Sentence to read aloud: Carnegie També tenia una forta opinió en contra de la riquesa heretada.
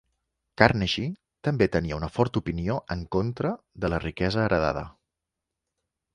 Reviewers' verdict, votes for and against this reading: rejected, 1, 2